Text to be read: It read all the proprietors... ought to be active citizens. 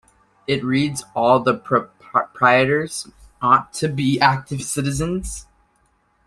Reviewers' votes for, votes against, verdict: 1, 2, rejected